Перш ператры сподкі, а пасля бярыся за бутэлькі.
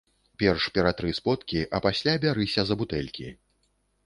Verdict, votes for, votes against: accepted, 2, 0